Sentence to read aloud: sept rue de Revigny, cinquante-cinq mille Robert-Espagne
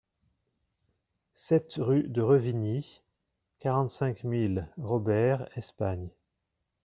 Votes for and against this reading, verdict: 0, 2, rejected